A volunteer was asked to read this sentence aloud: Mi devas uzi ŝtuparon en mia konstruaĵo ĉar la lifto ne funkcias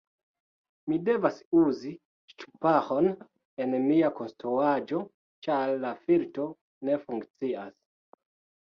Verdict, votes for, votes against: rejected, 1, 2